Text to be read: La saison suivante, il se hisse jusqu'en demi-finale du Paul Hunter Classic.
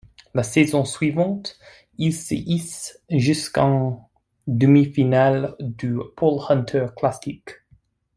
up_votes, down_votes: 2, 0